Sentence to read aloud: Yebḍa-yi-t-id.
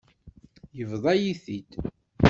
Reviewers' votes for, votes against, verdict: 2, 0, accepted